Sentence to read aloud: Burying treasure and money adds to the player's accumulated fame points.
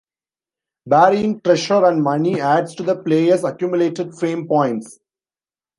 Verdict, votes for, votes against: rejected, 0, 2